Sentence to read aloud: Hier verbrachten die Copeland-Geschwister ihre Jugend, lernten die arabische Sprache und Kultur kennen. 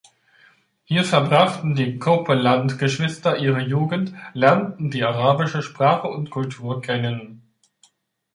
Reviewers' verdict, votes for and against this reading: rejected, 1, 2